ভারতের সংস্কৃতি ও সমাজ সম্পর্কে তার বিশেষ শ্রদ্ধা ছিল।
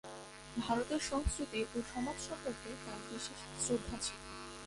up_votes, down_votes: 1, 7